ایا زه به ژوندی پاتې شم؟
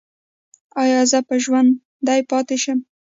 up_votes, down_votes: 2, 0